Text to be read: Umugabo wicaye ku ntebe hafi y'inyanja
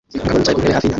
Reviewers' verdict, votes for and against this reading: rejected, 0, 2